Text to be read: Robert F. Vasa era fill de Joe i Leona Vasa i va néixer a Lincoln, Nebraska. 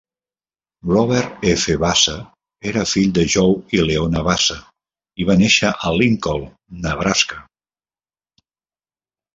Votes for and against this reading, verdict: 2, 1, accepted